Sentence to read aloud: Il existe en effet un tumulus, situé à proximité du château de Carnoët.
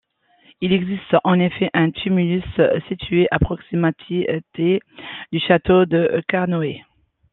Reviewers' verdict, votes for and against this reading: rejected, 1, 2